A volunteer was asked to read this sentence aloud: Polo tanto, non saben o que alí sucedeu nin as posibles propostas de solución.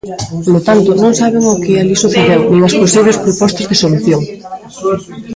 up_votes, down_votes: 0, 2